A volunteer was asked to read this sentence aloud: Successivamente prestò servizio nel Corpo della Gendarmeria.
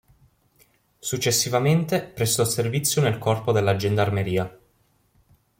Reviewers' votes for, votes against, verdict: 2, 0, accepted